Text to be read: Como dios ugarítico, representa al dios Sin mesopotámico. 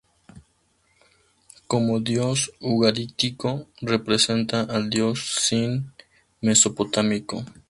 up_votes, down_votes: 2, 0